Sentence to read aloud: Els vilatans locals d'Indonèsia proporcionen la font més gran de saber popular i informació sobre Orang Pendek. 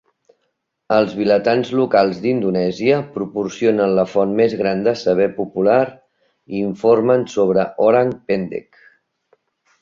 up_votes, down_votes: 0, 2